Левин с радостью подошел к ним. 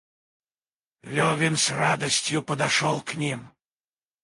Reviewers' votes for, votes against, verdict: 2, 4, rejected